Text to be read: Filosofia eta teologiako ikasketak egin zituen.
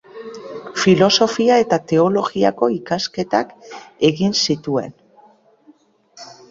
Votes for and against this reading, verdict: 1, 2, rejected